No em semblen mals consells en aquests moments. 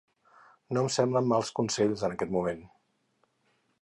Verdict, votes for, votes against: rejected, 0, 4